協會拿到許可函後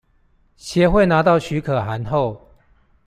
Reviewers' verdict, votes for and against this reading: accepted, 2, 0